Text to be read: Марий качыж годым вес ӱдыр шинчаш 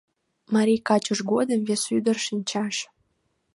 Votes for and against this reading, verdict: 2, 0, accepted